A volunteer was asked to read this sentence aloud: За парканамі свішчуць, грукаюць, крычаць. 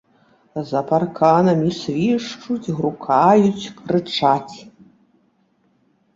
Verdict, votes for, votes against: accepted, 3, 2